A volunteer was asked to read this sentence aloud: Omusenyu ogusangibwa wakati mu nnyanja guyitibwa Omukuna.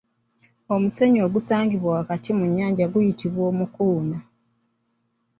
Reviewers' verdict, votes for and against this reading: accepted, 2, 0